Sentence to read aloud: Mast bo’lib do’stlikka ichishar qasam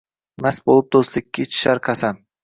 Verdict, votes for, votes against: accepted, 2, 0